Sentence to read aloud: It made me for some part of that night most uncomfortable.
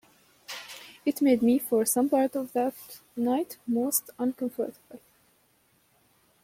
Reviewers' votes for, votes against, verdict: 2, 0, accepted